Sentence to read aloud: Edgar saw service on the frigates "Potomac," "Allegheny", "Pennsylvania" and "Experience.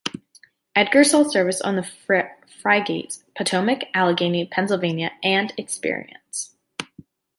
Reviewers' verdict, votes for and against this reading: rejected, 1, 2